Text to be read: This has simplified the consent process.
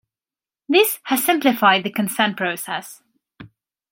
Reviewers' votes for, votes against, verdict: 2, 0, accepted